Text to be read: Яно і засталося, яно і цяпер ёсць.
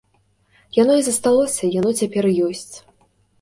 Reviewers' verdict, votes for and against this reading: rejected, 1, 2